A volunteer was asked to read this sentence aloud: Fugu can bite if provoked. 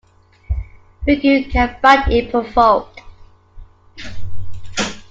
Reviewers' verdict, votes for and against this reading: rejected, 0, 2